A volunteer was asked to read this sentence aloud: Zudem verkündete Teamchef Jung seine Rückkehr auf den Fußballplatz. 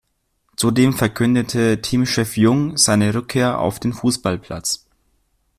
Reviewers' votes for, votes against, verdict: 2, 1, accepted